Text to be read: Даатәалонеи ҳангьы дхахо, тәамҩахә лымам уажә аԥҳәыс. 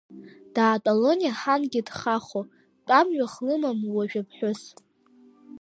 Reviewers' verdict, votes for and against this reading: rejected, 0, 2